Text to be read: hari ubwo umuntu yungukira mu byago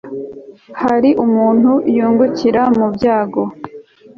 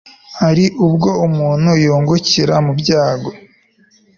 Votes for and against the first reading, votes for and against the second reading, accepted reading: 1, 2, 3, 0, second